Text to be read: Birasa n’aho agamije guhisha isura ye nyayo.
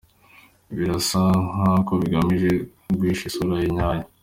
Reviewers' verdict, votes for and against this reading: accepted, 3, 2